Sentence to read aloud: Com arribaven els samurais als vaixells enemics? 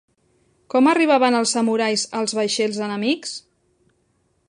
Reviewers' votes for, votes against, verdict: 3, 0, accepted